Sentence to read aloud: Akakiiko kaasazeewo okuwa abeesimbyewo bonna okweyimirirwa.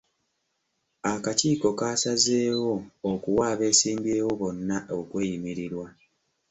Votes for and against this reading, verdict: 2, 0, accepted